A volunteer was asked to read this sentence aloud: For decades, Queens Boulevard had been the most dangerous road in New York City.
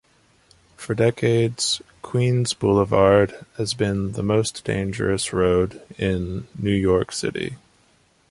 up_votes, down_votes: 0, 2